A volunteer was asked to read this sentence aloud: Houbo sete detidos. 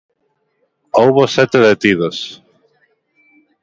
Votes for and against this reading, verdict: 2, 1, accepted